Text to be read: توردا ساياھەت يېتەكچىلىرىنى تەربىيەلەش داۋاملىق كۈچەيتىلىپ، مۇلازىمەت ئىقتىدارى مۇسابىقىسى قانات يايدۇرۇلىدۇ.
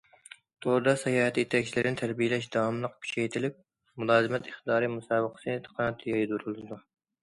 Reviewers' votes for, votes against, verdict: 2, 1, accepted